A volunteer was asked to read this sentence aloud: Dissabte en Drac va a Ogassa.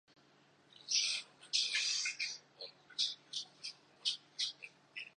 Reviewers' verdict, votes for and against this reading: rejected, 0, 2